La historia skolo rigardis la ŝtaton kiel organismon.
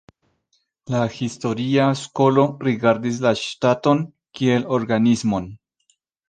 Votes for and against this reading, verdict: 2, 0, accepted